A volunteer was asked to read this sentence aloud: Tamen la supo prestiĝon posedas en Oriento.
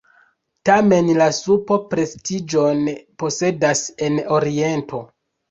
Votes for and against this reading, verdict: 1, 2, rejected